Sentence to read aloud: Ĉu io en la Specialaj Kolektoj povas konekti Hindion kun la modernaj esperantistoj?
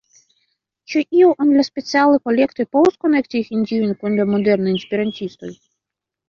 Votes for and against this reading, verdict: 2, 1, accepted